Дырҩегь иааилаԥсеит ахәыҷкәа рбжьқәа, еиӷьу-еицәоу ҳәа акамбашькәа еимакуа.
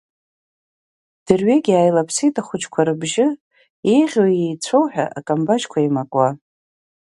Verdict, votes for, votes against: rejected, 1, 3